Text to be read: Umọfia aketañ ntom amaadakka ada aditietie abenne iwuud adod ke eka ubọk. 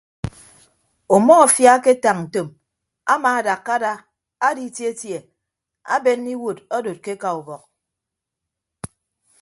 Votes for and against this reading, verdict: 2, 0, accepted